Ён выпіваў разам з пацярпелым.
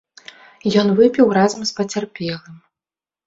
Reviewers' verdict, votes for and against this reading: rejected, 0, 2